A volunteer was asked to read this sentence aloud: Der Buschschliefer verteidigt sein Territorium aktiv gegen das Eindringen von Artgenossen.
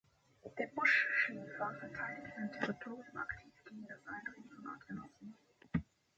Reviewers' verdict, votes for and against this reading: rejected, 0, 2